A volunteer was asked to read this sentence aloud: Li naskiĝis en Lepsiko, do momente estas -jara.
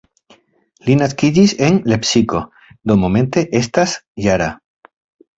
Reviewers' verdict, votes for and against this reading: accepted, 2, 0